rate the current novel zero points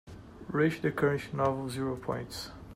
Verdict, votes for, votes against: rejected, 0, 2